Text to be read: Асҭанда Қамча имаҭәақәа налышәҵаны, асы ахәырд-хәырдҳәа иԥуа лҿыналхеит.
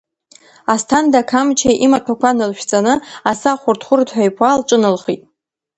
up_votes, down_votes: 2, 0